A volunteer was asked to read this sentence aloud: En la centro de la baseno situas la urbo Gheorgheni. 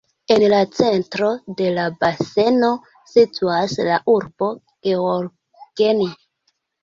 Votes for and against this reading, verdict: 2, 1, accepted